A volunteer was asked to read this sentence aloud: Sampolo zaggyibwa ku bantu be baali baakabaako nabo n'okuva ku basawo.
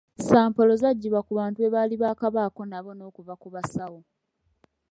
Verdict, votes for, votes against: accepted, 2, 0